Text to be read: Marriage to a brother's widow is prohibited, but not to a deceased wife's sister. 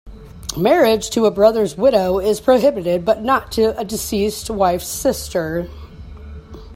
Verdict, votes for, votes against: accepted, 2, 0